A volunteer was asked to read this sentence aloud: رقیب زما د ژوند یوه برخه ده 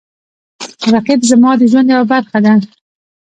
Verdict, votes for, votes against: rejected, 1, 2